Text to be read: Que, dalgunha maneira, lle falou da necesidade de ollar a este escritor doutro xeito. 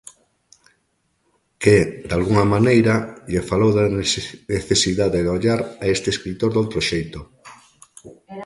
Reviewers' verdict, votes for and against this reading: rejected, 0, 2